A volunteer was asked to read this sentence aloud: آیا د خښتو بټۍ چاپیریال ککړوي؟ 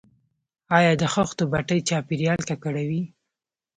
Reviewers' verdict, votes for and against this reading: accepted, 2, 0